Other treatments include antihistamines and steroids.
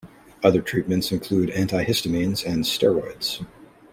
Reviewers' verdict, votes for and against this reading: accepted, 2, 0